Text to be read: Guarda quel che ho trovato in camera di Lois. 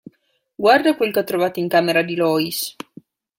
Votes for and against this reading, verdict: 2, 0, accepted